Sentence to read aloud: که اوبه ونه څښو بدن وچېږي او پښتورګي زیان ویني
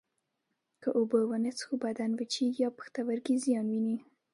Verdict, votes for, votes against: accepted, 2, 0